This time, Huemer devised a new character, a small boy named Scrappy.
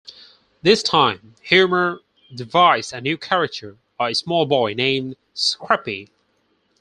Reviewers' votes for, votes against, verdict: 4, 0, accepted